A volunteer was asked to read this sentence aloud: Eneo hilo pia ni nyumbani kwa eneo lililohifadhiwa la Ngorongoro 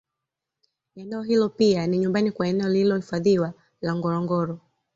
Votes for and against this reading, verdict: 2, 0, accepted